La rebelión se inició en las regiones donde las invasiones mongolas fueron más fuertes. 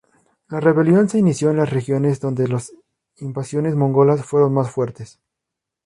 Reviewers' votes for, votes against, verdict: 0, 2, rejected